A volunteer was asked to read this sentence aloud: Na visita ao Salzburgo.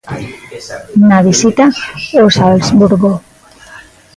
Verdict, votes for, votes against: rejected, 0, 2